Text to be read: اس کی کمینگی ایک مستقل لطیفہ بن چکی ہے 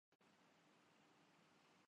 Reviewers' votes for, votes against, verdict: 4, 5, rejected